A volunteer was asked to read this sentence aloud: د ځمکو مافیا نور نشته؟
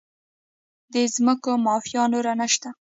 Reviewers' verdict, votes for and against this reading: rejected, 0, 2